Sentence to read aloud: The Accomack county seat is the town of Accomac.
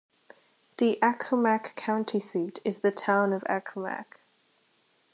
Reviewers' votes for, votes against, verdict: 2, 1, accepted